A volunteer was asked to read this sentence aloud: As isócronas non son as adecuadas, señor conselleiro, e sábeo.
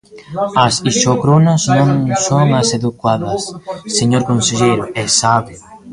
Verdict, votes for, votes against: rejected, 0, 2